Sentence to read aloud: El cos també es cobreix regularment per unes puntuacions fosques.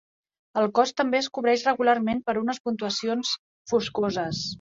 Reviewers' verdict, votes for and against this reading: rejected, 0, 2